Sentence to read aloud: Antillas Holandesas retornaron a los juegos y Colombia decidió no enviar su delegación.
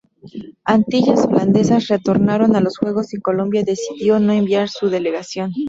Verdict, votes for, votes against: rejected, 0, 4